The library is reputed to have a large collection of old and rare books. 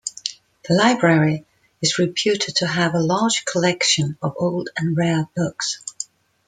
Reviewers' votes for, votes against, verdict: 2, 0, accepted